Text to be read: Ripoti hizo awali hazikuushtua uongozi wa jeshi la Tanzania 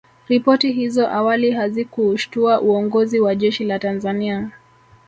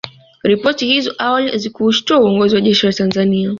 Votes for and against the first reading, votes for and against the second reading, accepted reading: 1, 2, 2, 0, second